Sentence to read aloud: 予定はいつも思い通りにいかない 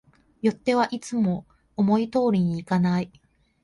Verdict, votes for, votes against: rejected, 0, 2